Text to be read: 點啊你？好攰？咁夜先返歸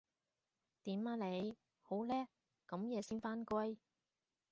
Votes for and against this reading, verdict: 1, 2, rejected